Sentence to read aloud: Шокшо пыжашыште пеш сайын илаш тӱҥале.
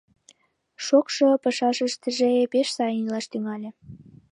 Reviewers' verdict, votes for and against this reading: rejected, 0, 2